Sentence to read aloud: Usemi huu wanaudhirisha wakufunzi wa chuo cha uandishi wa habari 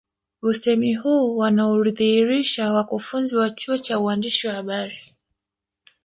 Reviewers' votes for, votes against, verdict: 0, 2, rejected